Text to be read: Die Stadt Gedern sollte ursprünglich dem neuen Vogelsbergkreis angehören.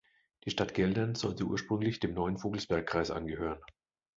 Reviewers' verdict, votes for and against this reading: rejected, 0, 2